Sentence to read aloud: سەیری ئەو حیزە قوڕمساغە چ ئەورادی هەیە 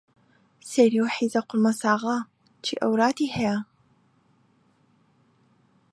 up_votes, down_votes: 0, 2